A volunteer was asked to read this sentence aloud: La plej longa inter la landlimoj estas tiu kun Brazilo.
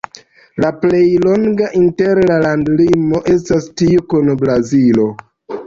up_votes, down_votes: 2, 0